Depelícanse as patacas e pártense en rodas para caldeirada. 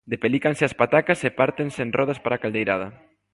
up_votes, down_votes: 2, 0